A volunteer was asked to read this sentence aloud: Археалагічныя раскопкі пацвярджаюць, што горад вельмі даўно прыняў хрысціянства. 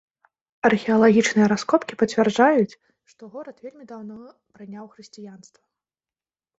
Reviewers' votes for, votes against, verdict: 0, 2, rejected